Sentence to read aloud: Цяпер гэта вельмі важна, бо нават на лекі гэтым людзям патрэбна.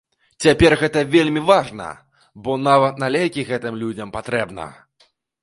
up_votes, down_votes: 2, 0